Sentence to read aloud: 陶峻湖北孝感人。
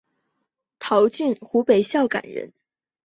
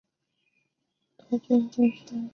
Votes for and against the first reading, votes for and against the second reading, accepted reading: 2, 0, 0, 2, first